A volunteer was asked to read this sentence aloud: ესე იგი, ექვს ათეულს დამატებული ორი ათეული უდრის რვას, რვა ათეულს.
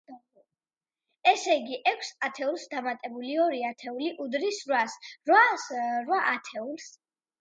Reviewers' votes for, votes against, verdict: 2, 0, accepted